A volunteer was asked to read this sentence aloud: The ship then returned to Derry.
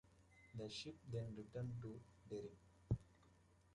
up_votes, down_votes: 0, 2